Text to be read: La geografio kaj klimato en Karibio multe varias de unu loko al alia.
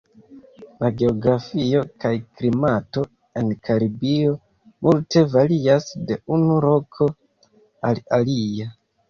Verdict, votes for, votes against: rejected, 1, 2